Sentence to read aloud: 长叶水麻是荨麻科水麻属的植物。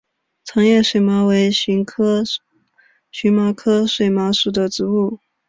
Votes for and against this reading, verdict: 2, 5, rejected